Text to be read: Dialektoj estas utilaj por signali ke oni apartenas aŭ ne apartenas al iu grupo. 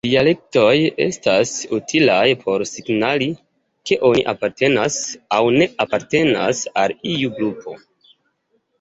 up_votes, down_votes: 2, 0